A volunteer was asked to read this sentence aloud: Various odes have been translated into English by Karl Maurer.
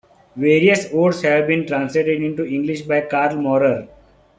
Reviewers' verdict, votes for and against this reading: accepted, 3, 0